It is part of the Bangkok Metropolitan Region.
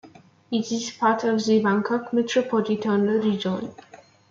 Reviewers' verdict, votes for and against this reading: rejected, 0, 2